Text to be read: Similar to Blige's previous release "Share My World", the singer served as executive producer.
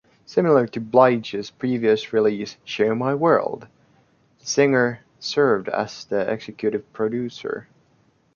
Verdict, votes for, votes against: rejected, 1, 2